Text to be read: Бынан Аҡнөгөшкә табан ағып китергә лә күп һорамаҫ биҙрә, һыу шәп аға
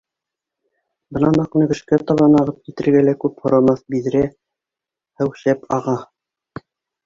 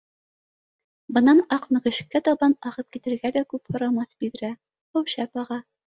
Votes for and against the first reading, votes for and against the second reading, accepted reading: 0, 2, 2, 0, second